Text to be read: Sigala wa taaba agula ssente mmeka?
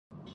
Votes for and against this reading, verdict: 0, 2, rejected